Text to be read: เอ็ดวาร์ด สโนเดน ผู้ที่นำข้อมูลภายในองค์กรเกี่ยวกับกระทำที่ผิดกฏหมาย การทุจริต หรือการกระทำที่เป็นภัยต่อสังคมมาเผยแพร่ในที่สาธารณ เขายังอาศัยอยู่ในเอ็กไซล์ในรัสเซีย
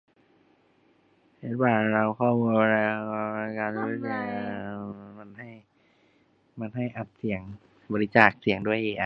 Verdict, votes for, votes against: rejected, 0, 3